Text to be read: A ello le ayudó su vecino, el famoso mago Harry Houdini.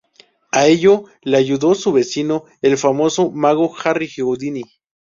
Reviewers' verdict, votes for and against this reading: rejected, 2, 2